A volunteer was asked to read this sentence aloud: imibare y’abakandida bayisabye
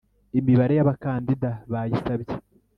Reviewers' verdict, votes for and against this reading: accepted, 2, 0